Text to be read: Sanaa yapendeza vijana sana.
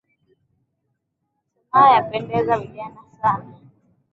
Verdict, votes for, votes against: rejected, 0, 2